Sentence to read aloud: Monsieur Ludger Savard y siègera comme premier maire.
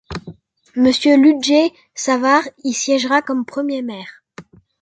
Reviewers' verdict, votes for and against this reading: accepted, 2, 0